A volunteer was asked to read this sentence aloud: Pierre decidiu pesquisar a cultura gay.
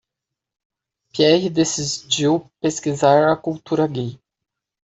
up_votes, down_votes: 1, 2